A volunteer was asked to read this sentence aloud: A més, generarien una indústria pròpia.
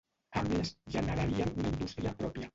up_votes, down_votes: 1, 2